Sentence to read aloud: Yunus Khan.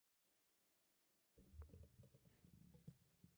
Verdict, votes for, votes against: rejected, 0, 4